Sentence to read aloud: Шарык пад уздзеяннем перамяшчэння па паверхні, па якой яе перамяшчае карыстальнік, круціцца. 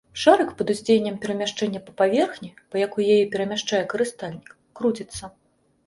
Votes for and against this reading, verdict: 2, 0, accepted